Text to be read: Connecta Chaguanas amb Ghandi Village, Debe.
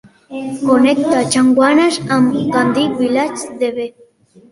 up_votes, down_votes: 2, 1